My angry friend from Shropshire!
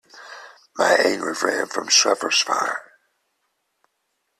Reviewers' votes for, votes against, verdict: 1, 2, rejected